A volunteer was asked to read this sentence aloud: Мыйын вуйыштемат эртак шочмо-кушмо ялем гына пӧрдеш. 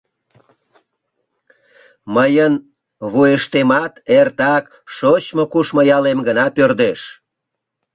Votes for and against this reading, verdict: 2, 0, accepted